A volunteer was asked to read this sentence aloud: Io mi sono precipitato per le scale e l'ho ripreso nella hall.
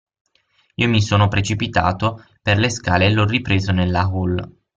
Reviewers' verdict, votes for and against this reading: accepted, 6, 0